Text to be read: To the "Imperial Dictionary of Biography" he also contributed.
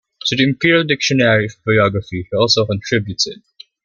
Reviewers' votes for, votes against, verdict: 2, 0, accepted